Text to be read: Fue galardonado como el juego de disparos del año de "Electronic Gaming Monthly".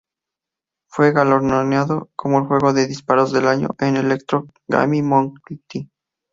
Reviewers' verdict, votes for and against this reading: rejected, 0, 2